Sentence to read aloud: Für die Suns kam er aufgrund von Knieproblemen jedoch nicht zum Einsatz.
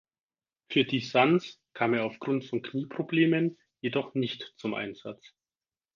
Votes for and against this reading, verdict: 4, 2, accepted